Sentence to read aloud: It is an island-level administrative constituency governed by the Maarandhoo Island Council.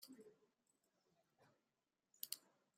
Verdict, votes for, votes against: rejected, 0, 2